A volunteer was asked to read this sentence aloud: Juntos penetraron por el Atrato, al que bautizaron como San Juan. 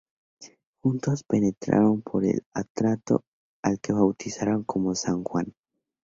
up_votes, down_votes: 4, 0